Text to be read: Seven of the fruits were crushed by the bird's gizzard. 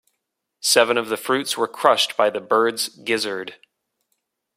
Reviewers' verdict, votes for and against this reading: accepted, 2, 0